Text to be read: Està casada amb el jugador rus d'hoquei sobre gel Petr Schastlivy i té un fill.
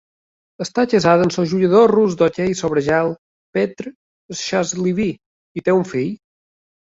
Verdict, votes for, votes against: accepted, 2, 1